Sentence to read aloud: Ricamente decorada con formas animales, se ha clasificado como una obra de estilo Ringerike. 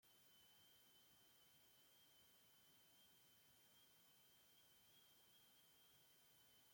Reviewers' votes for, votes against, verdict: 0, 2, rejected